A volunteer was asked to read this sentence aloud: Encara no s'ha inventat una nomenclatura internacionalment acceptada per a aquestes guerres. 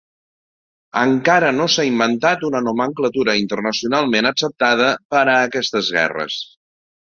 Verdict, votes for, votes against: accepted, 2, 0